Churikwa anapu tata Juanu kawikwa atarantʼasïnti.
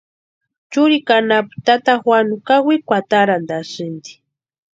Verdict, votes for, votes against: accepted, 2, 0